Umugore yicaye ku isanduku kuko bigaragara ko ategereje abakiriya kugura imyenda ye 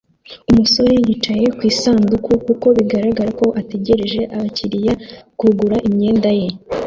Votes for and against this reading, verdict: 0, 2, rejected